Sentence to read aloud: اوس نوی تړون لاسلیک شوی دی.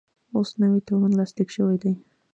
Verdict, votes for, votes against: accepted, 2, 1